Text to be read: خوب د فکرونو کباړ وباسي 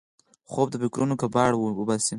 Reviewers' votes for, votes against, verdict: 6, 0, accepted